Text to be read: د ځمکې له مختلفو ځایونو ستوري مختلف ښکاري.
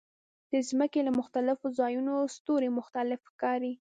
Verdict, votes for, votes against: accepted, 3, 0